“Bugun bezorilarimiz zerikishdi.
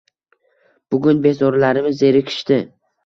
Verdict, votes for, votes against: accepted, 2, 0